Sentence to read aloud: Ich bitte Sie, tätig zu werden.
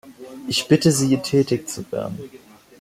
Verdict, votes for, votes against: accepted, 2, 1